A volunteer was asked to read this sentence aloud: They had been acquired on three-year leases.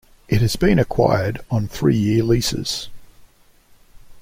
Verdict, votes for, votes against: rejected, 1, 2